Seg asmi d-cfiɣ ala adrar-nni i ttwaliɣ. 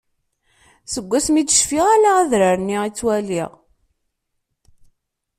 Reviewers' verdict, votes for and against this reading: accepted, 2, 0